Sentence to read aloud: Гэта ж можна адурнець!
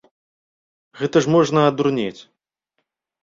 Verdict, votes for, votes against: accepted, 2, 0